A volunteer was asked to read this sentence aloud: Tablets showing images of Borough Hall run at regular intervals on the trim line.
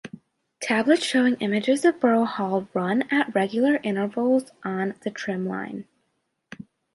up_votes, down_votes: 2, 0